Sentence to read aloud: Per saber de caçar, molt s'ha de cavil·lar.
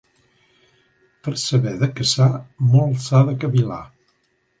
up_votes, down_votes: 2, 0